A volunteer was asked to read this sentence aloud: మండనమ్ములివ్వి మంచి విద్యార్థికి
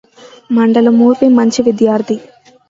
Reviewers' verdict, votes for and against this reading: rejected, 0, 2